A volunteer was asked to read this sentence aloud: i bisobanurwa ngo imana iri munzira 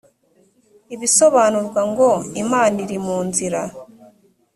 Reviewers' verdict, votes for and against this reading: accepted, 2, 0